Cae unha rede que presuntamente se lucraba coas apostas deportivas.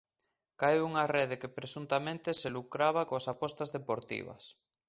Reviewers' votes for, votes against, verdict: 2, 0, accepted